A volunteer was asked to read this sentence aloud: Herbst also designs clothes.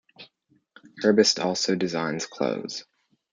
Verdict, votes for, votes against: accepted, 2, 0